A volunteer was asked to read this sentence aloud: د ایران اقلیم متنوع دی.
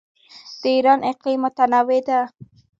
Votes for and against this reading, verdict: 1, 2, rejected